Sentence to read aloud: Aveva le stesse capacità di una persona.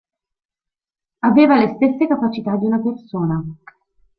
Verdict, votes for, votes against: accepted, 2, 0